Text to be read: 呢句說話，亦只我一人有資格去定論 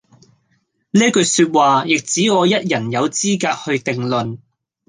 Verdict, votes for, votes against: accepted, 2, 1